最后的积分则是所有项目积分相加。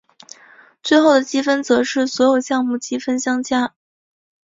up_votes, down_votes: 4, 0